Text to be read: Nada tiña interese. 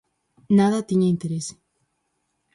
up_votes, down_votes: 4, 0